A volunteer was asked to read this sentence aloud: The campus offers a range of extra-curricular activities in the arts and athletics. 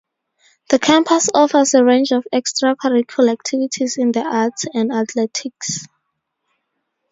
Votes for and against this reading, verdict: 4, 0, accepted